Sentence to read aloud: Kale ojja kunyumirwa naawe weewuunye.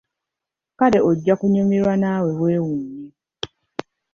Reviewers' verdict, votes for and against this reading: accepted, 2, 0